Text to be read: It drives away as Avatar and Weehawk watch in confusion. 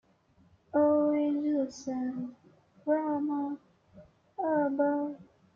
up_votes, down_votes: 0, 2